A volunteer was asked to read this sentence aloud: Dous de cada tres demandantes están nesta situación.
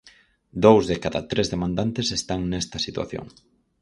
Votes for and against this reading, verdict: 6, 0, accepted